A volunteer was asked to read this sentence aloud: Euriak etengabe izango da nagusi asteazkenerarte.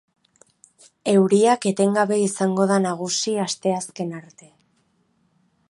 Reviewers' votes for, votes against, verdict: 0, 2, rejected